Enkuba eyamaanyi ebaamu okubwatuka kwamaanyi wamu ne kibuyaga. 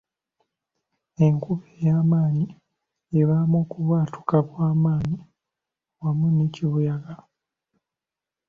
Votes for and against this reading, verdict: 2, 1, accepted